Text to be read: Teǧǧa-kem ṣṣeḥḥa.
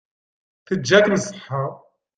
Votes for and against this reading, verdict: 1, 3, rejected